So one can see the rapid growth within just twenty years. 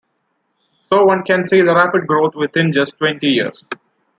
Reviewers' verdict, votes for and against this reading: accepted, 2, 0